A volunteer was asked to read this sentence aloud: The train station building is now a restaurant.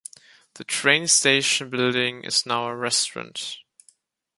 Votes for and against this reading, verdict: 1, 2, rejected